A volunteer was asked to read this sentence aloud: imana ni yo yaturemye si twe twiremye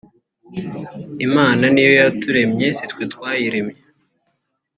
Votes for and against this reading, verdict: 1, 2, rejected